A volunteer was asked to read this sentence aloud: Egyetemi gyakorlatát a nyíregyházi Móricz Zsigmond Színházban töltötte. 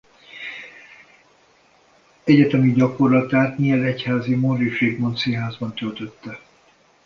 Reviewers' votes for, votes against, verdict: 0, 2, rejected